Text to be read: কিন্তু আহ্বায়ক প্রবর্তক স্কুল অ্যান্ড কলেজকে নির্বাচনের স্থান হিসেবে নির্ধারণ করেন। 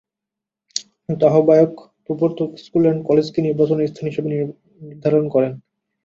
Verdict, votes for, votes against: rejected, 0, 2